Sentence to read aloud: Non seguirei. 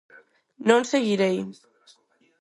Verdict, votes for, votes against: accepted, 4, 0